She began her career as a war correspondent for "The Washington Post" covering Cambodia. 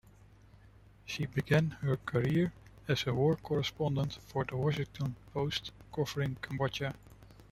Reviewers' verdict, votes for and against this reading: rejected, 1, 2